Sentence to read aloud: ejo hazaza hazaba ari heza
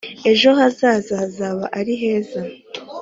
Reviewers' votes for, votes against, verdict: 2, 0, accepted